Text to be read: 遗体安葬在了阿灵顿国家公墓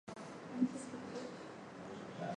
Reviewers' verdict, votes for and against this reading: rejected, 0, 2